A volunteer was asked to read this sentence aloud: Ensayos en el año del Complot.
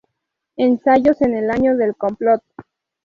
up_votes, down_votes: 2, 0